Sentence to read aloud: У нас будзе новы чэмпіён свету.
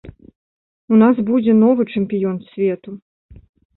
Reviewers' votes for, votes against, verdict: 2, 0, accepted